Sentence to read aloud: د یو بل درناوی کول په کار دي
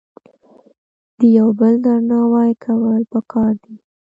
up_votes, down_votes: 2, 0